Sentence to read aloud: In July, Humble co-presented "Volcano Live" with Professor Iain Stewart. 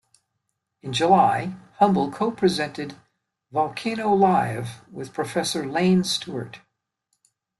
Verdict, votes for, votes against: accepted, 2, 1